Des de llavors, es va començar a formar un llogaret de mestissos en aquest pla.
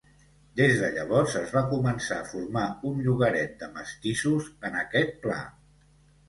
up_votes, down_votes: 2, 0